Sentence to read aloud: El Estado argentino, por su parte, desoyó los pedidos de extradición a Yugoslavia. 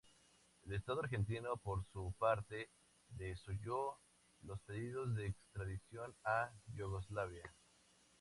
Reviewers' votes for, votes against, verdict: 2, 0, accepted